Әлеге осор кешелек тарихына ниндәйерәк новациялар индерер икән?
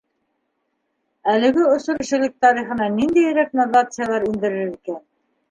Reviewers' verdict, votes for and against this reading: rejected, 1, 2